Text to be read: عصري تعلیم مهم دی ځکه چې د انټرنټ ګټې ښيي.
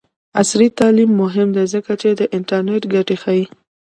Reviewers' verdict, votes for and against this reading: accepted, 2, 1